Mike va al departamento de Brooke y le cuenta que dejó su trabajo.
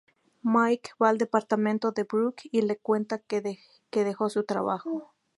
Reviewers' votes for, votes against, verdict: 0, 2, rejected